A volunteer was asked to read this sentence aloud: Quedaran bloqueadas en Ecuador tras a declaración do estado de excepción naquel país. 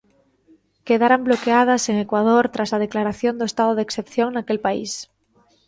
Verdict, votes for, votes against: accepted, 2, 1